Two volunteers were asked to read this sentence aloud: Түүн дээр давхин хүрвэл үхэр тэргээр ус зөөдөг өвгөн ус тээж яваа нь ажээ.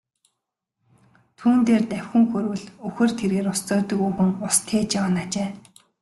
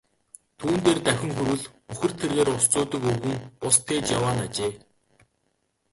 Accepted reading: first